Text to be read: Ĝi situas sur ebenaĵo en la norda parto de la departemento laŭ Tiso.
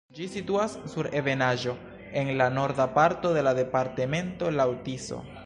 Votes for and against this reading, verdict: 2, 0, accepted